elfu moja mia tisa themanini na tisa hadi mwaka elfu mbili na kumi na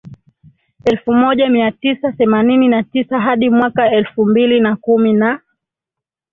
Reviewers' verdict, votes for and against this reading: accepted, 2, 1